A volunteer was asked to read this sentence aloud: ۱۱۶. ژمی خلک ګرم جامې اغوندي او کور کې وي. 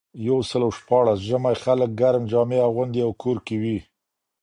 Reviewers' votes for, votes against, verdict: 0, 2, rejected